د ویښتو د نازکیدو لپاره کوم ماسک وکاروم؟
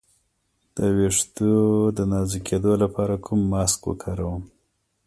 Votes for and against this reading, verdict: 2, 0, accepted